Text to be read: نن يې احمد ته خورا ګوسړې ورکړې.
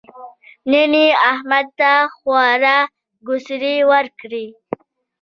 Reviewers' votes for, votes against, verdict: 1, 2, rejected